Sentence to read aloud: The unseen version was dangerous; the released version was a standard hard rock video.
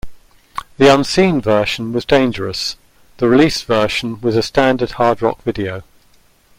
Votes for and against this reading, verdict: 2, 0, accepted